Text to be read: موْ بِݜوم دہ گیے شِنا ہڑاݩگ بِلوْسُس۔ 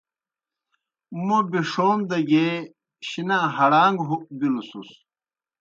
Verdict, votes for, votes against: accepted, 2, 0